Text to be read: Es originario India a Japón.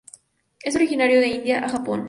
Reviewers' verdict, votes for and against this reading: rejected, 0, 2